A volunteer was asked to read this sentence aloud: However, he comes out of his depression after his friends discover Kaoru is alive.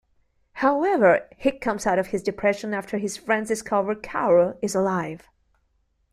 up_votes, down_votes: 2, 0